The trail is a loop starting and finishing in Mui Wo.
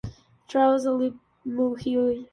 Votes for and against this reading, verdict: 0, 2, rejected